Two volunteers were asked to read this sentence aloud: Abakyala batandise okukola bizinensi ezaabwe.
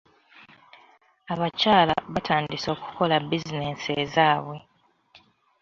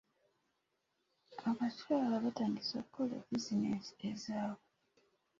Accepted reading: first